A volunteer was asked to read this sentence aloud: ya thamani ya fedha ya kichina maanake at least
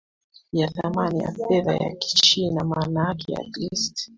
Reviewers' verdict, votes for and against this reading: accepted, 2, 0